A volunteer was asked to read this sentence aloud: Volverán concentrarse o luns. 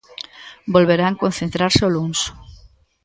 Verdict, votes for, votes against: accepted, 2, 0